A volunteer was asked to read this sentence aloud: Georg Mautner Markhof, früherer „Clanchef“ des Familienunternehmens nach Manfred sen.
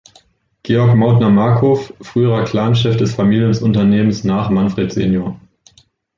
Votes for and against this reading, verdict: 0, 2, rejected